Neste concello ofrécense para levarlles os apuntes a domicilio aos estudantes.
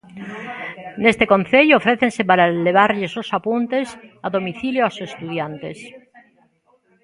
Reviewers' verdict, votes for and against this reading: rejected, 1, 2